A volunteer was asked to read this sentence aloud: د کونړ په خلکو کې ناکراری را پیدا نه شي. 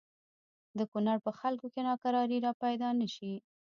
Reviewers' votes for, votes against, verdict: 1, 2, rejected